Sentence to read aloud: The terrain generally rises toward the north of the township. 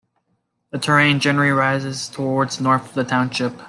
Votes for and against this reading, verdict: 0, 2, rejected